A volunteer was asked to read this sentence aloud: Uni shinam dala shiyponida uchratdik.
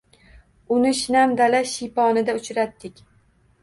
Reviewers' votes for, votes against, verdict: 2, 0, accepted